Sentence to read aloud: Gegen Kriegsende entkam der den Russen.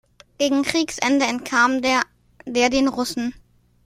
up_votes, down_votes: 0, 2